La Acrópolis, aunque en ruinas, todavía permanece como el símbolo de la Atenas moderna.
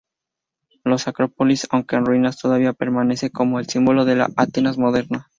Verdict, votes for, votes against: rejected, 0, 2